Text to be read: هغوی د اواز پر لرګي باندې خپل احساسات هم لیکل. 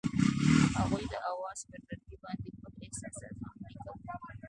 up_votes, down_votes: 0, 2